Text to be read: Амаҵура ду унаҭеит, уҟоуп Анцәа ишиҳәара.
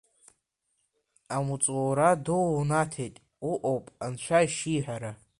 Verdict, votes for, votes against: rejected, 0, 2